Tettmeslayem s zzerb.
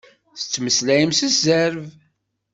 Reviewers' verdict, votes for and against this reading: accepted, 2, 0